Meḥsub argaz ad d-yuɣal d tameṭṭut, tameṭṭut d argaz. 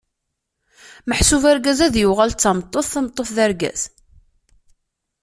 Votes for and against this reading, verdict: 2, 0, accepted